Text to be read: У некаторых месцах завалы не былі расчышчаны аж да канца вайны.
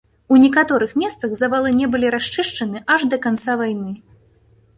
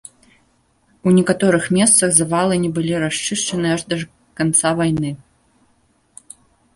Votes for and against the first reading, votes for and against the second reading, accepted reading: 2, 1, 1, 2, first